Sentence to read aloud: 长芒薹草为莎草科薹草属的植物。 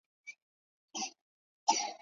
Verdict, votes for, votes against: rejected, 3, 4